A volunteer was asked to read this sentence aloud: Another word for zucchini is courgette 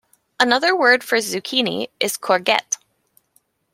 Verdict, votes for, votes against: rejected, 0, 2